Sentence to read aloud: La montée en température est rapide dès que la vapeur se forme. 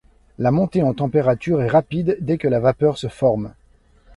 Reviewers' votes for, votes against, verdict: 2, 0, accepted